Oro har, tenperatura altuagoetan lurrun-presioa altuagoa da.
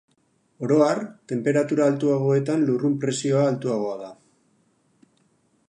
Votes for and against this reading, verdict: 4, 0, accepted